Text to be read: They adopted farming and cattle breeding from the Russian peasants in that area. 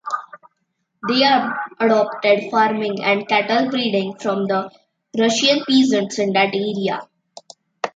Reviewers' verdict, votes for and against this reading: rejected, 0, 2